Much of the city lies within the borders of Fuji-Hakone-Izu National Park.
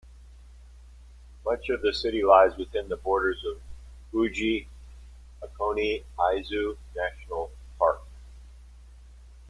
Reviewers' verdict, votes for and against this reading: rejected, 0, 2